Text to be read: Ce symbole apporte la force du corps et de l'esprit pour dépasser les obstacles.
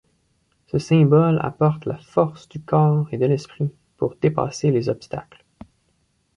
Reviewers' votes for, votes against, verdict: 2, 1, accepted